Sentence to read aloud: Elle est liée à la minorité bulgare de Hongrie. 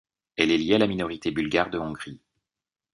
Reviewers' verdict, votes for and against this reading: accepted, 2, 0